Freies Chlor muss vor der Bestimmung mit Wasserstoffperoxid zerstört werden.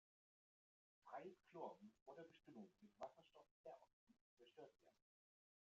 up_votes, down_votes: 0, 2